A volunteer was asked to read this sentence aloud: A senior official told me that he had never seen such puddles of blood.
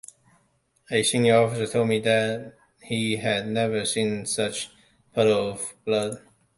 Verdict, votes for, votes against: rejected, 1, 2